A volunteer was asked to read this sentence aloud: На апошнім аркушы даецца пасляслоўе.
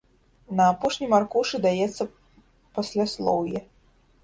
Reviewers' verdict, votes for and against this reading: rejected, 1, 2